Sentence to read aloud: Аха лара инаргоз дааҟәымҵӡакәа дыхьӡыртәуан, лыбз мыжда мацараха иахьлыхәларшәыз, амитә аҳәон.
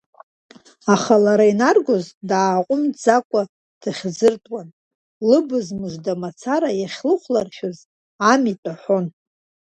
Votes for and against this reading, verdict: 1, 2, rejected